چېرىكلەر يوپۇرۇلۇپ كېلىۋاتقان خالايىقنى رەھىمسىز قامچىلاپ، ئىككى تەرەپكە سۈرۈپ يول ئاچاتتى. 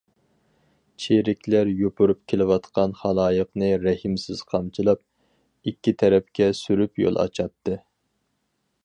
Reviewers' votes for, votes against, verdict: 0, 4, rejected